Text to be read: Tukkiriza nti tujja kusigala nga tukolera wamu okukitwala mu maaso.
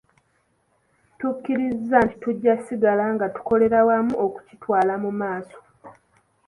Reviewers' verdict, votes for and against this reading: accepted, 2, 0